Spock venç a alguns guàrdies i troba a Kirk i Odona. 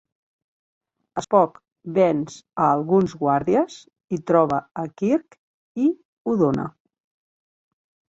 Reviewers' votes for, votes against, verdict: 3, 0, accepted